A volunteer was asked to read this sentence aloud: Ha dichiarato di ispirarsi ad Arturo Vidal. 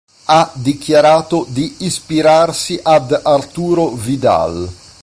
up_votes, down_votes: 2, 0